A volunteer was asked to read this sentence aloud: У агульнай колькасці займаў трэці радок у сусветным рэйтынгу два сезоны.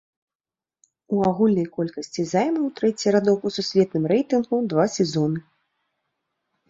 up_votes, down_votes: 0, 2